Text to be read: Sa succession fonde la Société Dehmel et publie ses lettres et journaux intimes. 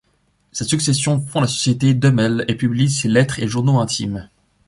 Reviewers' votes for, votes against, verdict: 1, 2, rejected